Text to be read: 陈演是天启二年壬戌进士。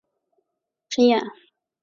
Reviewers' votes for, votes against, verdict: 2, 3, rejected